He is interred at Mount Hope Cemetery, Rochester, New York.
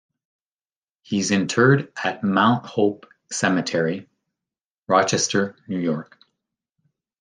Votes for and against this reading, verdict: 1, 2, rejected